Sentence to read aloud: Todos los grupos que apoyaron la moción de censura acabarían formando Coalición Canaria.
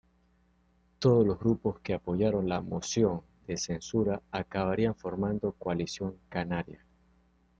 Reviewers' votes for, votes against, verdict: 2, 0, accepted